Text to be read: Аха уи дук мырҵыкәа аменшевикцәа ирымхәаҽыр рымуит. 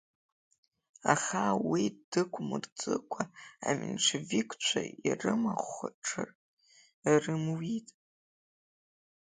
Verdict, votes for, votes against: accepted, 3, 2